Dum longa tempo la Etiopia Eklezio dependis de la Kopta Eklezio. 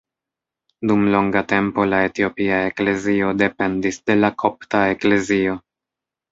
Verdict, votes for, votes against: rejected, 0, 2